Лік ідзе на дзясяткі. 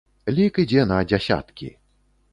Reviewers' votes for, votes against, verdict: 2, 0, accepted